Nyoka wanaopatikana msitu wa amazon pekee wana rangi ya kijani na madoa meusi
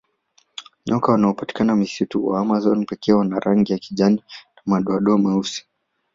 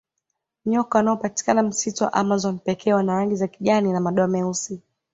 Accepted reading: first